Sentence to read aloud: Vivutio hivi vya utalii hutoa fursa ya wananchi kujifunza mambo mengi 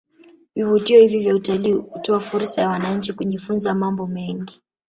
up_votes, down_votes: 1, 2